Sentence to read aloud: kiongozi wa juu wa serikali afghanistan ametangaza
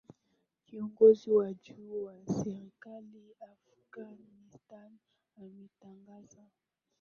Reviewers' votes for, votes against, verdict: 0, 2, rejected